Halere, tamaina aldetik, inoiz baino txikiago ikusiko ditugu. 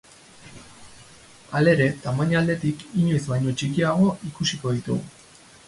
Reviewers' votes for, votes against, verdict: 2, 2, rejected